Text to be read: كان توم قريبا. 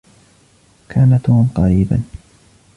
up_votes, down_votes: 2, 0